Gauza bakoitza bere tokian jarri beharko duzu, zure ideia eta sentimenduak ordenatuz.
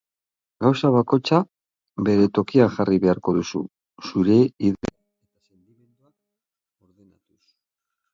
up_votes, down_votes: 0, 2